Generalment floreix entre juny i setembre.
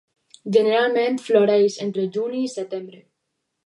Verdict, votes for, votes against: rejected, 2, 4